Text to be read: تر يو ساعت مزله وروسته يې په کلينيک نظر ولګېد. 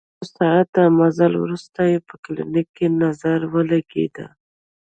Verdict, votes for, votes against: rejected, 0, 2